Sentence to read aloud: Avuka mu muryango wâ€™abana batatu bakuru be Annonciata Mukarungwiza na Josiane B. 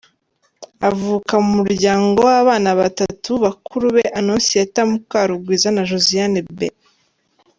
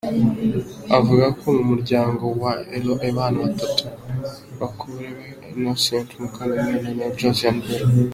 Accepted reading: first